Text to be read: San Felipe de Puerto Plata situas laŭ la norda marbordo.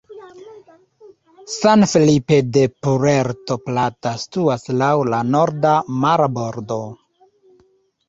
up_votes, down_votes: 1, 2